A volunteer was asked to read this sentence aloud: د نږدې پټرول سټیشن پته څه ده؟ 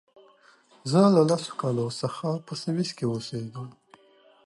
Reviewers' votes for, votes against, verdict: 0, 2, rejected